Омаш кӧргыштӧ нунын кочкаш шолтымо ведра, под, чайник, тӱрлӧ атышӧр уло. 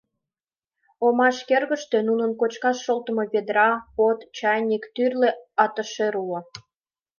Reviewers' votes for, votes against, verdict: 2, 0, accepted